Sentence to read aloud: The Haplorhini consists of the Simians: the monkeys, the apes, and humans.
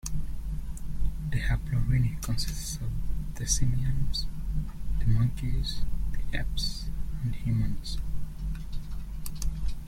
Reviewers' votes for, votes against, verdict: 0, 2, rejected